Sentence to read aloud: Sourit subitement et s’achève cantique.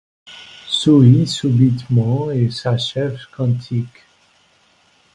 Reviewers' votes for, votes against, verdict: 1, 2, rejected